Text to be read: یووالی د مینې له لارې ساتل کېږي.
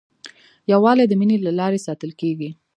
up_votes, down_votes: 1, 2